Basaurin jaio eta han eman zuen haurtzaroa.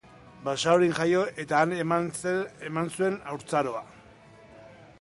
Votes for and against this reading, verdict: 0, 2, rejected